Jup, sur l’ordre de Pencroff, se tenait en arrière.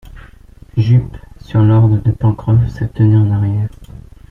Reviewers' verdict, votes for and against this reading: accepted, 2, 1